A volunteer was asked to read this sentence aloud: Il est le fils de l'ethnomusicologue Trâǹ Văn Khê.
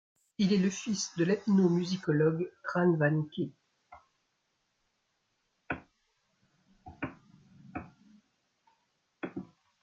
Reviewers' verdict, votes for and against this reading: accepted, 2, 0